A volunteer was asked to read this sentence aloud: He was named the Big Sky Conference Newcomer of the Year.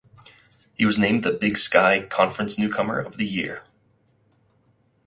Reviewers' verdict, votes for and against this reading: accepted, 2, 0